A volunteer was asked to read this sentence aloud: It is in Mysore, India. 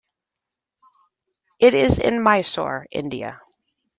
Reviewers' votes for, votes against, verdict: 2, 0, accepted